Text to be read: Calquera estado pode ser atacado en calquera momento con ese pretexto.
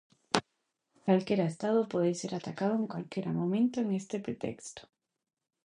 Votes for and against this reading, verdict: 0, 2, rejected